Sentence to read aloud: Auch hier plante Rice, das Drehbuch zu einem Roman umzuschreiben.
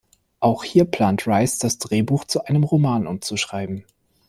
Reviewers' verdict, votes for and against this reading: accepted, 2, 1